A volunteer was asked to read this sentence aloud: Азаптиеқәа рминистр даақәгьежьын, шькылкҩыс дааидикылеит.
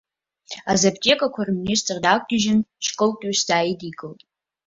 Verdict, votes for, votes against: accepted, 2, 1